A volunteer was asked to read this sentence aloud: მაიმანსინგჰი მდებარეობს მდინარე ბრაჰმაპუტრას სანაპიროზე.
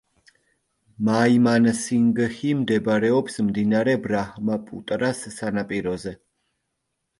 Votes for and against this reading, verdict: 2, 0, accepted